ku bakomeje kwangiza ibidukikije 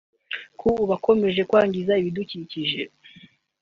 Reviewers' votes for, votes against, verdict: 2, 0, accepted